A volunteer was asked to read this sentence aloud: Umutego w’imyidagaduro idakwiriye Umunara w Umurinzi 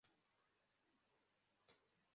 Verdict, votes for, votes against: rejected, 0, 2